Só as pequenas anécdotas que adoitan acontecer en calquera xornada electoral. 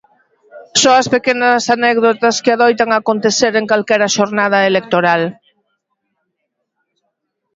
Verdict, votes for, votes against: accepted, 2, 0